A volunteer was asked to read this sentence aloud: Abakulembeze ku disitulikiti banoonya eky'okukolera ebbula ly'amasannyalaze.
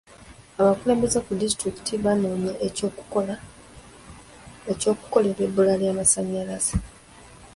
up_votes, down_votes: 2, 0